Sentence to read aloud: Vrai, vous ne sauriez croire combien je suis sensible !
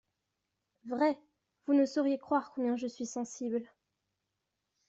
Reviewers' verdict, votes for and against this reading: accepted, 2, 0